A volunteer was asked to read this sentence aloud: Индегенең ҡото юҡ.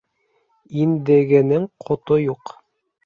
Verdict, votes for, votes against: accepted, 2, 0